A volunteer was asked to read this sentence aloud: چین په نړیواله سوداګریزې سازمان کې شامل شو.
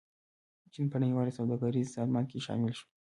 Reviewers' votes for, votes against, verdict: 0, 2, rejected